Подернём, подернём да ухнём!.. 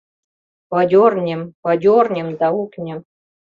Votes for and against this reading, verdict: 2, 0, accepted